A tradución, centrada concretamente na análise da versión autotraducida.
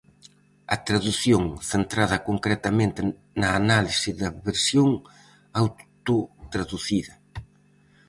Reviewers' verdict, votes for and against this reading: rejected, 2, 2